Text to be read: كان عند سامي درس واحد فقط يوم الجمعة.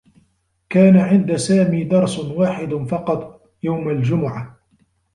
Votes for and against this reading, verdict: 2, 0, accepted